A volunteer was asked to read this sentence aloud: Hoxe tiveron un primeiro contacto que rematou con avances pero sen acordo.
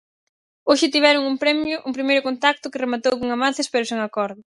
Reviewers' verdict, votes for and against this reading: rejected, 0, 4